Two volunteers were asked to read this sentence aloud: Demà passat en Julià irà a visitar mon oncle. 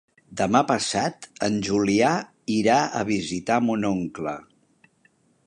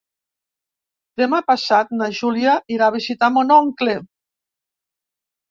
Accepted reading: first